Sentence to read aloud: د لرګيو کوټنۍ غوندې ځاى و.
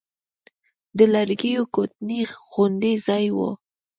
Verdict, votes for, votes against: accepted, 2, 0